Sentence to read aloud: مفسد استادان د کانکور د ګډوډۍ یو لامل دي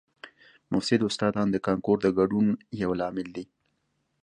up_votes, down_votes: 2, 0